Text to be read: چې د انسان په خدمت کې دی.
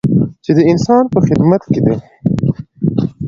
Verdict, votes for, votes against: accepted, 2, 0